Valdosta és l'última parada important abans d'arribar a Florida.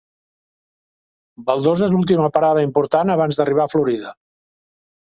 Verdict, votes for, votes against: rejected, 1, 2